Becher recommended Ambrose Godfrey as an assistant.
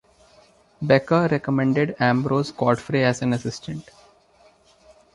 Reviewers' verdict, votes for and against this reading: accepted, 2, 0